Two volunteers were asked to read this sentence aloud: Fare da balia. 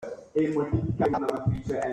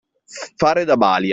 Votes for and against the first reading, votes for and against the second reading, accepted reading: 0, 2, 2, 0, second